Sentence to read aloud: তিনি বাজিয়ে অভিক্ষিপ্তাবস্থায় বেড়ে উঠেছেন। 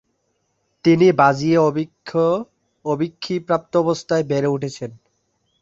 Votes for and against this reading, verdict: 2, 3, rejected